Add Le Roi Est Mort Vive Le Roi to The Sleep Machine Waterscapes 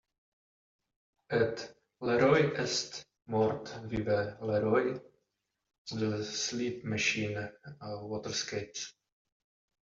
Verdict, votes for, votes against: rejected, 0, 2